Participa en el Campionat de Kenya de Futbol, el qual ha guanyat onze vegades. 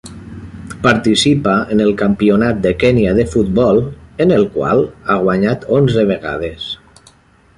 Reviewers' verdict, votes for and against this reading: rejected, 1, 2